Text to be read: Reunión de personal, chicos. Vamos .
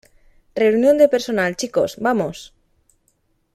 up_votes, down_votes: 2, 0